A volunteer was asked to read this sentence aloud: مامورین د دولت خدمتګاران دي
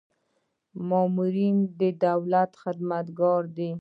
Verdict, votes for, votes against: rejected, 0, 2